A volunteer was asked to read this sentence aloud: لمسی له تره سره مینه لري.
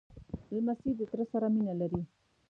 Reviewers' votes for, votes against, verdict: 0, 2, rejected